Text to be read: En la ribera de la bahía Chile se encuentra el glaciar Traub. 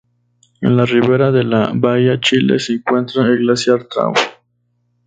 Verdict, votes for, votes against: accepted, 2, 0